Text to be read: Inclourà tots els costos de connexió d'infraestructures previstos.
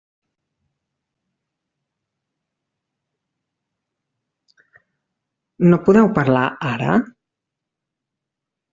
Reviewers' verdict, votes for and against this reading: rejected, 0, 2